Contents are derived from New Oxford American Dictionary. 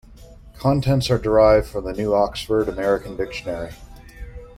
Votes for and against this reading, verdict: 2, 0, accepted